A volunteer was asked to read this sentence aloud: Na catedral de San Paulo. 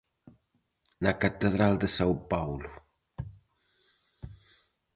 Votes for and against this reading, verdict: 0, 4, rejected